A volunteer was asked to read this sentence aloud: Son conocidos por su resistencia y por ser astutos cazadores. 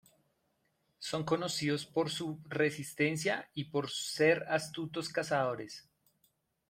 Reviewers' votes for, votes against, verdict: 1, 2, rejected